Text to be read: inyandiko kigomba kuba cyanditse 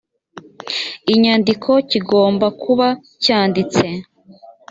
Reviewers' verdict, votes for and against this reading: accepted, 3, 0